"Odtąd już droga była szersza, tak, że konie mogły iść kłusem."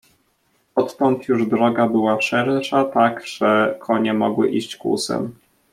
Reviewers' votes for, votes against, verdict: 1, 2, rejected